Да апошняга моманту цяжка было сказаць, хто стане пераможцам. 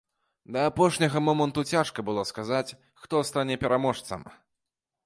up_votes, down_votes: 2, 0